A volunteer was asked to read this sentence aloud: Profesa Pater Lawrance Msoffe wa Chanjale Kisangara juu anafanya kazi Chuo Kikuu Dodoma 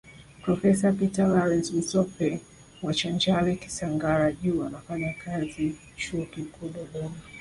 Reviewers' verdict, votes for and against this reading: rejected, 1, 2